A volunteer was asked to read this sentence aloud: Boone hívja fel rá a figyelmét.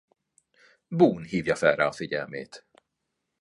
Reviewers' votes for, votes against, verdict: 2, 0, accepted